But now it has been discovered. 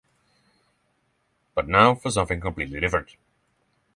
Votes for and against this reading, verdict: 0, 3, rejected